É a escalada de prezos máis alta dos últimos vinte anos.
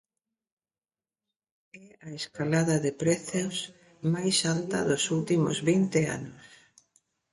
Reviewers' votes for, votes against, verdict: 1, 2, rejected